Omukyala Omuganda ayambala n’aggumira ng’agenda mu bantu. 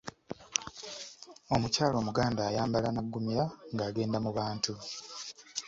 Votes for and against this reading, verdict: 2, 0, accepted